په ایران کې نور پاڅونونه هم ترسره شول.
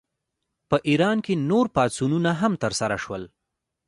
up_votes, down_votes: 2, 1